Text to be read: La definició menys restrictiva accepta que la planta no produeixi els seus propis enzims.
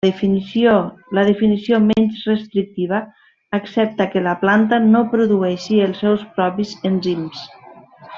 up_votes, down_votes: 0, 2